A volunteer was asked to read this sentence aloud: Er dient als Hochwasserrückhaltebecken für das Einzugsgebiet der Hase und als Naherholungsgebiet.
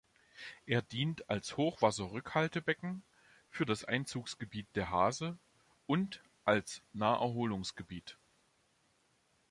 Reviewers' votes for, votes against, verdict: 2, 0, accepted